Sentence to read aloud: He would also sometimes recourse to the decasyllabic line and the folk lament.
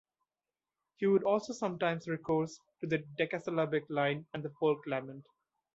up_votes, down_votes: 1, 2